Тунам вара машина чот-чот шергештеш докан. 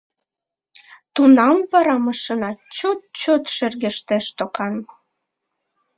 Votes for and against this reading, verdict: 3, 0, accepted